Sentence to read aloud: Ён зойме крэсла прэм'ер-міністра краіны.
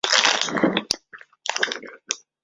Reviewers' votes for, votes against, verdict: 0, 2, rejected